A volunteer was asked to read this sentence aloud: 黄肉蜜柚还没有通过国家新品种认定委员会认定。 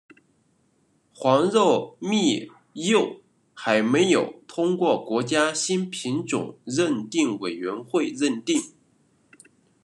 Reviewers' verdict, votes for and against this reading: accepted, 2, 0